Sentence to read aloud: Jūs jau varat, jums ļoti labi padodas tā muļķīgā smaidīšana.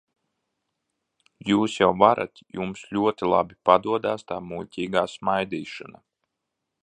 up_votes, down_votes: 1, 2